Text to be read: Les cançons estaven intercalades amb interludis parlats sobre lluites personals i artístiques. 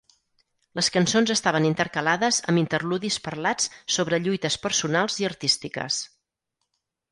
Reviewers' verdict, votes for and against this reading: accepted, 4, 0